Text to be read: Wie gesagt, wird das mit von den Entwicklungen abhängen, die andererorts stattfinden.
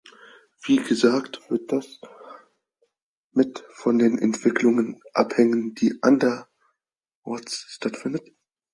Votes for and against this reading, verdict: 4, 2, accepted